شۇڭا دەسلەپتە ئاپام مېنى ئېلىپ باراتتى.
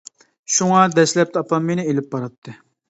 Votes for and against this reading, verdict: 2, 0, accepted